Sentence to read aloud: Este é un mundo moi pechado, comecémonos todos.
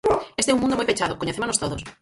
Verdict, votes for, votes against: rejected, 0, 4